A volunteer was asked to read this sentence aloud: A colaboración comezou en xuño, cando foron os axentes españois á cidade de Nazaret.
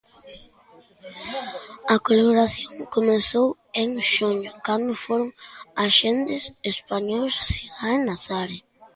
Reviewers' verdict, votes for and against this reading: rejected, 0, 2